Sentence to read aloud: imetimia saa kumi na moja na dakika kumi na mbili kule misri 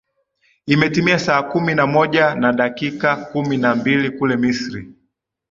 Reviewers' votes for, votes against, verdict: 2, 0, accepted